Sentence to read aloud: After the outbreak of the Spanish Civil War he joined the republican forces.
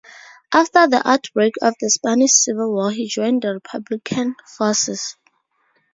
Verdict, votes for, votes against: accepted, 2, 0